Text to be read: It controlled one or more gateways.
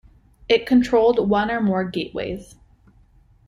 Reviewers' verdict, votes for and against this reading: accepted, 2, 0